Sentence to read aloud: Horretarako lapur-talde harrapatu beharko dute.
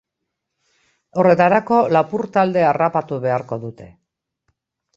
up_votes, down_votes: 1, 2